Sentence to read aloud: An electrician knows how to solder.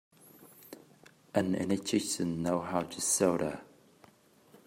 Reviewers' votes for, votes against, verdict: 0, 2, rejected